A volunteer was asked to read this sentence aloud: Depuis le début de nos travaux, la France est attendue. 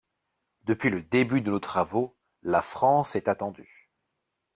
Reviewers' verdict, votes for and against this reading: accepted, 2, 0